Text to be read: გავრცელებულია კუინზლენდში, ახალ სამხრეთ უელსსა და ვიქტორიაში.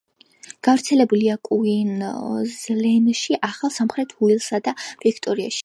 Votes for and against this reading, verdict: 2, 0, accepted